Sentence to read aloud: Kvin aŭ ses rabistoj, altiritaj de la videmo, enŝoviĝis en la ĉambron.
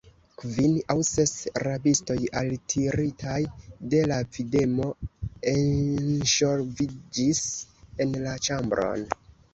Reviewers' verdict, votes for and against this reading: rejected, 1, 2